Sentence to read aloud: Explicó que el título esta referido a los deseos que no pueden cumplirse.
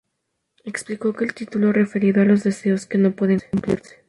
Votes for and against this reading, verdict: 2, 2, rejected